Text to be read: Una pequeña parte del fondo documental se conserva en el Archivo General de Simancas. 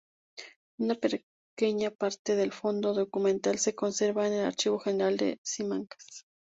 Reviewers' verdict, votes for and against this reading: rejected, 0, 2